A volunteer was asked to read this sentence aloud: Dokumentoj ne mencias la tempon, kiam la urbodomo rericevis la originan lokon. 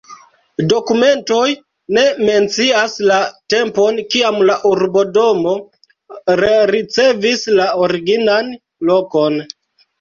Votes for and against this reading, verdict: 0, 2, rejected